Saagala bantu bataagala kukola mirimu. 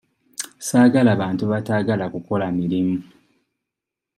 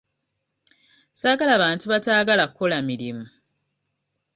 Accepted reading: first